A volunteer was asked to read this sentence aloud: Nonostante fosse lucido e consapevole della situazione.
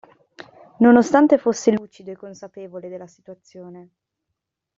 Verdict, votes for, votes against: accepted, 2, 1